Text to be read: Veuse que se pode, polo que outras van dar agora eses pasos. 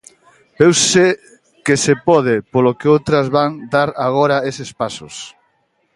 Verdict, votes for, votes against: accepted, 2, 0